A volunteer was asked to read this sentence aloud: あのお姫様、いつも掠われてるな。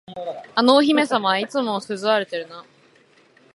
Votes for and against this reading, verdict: 1, 2, rejected